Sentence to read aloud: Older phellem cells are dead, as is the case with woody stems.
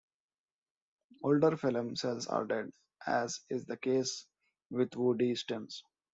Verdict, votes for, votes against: accepted, 2, 0